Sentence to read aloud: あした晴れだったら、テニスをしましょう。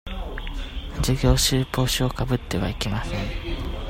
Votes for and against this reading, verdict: 0, 2, rejected